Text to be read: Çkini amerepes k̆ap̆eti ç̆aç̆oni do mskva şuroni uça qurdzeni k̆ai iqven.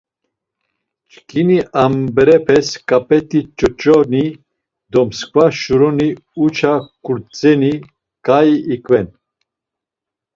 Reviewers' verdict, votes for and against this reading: rejected, 0, 2